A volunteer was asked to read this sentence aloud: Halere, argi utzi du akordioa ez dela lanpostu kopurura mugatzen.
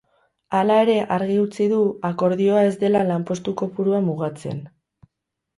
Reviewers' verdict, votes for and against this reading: rejected, 2, 6